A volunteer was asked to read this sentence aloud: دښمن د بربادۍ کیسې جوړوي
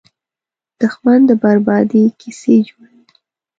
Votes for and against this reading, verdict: 1, 2, rejected